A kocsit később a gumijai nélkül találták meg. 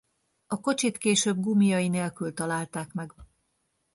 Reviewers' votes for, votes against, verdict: 1, 2, rejected